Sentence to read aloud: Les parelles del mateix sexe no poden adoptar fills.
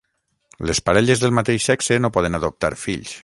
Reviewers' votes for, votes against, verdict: 3, 3, rejected